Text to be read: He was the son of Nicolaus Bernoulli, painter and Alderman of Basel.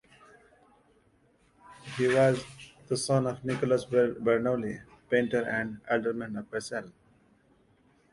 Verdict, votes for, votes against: rejected, 0, 2